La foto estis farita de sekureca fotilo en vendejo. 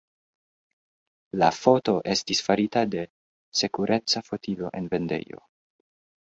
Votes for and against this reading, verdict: 2, 1, accepted